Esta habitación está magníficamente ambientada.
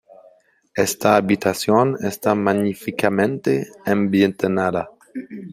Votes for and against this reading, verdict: 0, 2, rejected